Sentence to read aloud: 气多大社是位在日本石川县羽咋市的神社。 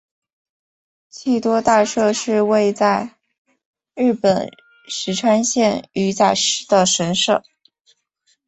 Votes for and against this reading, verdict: 10, 1, accepted